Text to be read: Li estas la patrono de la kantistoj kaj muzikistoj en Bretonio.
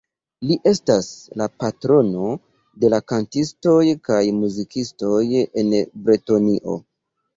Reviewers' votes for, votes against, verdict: 1, 2, rejected